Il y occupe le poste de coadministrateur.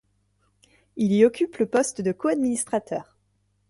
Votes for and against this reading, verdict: 2, 0, accepted